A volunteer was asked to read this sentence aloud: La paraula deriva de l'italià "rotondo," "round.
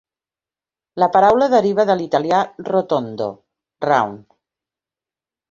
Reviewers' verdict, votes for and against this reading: accepted, 4, 0